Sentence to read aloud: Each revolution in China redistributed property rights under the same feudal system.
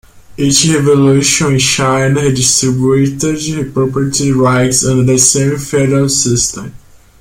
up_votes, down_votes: 0, 2